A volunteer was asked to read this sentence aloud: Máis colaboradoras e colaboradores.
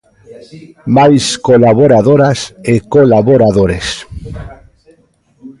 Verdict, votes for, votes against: rejected, 1, 2